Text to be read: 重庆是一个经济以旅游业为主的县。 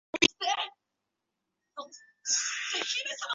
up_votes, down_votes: 2, 3